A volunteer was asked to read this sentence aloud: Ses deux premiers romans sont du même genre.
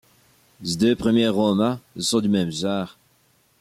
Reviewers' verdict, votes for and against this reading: accepted, 2, 1